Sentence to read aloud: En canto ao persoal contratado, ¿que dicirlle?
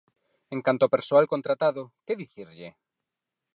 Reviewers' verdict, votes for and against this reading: accepted, 4, 0